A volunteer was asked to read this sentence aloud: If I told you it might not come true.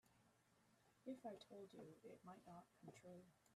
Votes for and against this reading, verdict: 1, 2, rejected